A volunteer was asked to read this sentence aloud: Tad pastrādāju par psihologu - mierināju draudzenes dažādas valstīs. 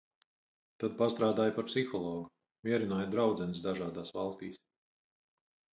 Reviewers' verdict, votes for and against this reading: rejected, 2, 4